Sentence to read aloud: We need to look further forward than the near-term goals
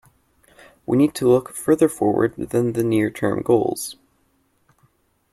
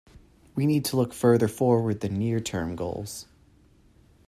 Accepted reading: first